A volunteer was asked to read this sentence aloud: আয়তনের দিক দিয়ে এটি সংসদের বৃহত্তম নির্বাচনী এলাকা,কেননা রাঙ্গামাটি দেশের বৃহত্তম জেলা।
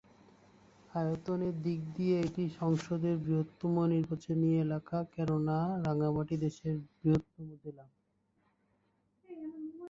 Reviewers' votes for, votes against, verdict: 2, 2, rejected